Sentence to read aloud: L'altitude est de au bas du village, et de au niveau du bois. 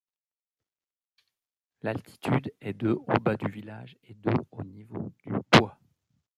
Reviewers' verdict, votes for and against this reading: rejected, 0, 2